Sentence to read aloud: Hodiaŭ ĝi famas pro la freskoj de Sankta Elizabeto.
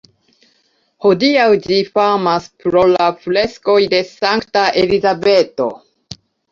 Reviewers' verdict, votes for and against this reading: accepted, 2, 0